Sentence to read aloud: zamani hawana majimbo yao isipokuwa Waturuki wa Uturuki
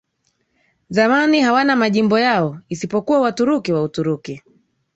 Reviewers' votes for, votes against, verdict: 2, 1, accepted